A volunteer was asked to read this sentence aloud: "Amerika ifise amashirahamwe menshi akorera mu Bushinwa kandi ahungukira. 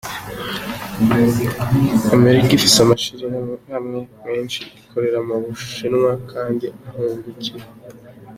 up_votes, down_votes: 2, 0